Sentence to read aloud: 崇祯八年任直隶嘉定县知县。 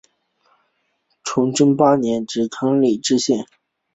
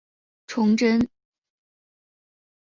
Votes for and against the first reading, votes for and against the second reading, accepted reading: 2, 0, 1, 2, first